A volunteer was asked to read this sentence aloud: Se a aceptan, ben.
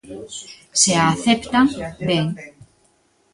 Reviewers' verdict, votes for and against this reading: accepted, 2, 1